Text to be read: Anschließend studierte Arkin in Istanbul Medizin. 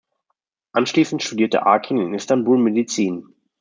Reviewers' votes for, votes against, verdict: 2, 0, accepted